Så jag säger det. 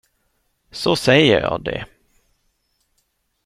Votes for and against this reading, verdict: 1, 2, rejected